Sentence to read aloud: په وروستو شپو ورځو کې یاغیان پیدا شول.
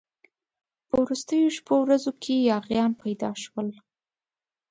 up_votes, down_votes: 2, 0